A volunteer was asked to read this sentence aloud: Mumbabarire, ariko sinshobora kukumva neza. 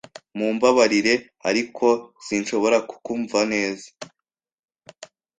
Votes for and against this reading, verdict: 2, 0, accepted